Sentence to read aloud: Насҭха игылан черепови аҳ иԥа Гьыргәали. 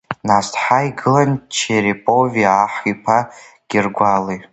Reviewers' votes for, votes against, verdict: 2, 1, accepted